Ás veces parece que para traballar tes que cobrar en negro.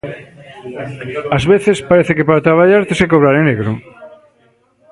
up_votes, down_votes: 2, 0